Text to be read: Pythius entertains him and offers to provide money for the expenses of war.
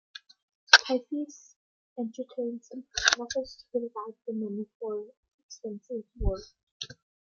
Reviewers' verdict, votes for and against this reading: rejected, 1, 2